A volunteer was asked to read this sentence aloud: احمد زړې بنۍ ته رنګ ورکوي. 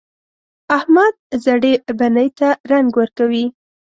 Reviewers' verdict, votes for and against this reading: accepted, 5, 0